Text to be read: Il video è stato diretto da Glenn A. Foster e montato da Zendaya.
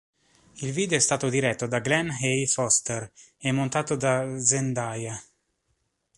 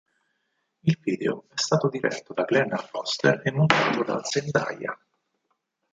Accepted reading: first